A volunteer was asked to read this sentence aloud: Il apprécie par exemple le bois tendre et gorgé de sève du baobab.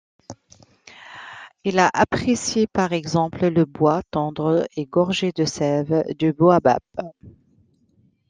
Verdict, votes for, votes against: rejected, 1, 2